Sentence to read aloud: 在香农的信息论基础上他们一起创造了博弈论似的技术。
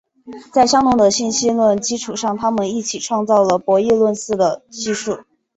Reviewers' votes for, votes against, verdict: 2, 0, accepted